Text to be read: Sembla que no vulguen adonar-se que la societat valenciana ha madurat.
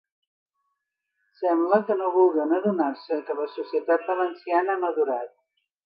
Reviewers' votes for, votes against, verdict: 2, 0, accepted